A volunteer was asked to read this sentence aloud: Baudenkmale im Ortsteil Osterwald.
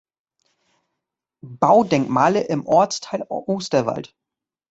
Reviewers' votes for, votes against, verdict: 1, 2, rejected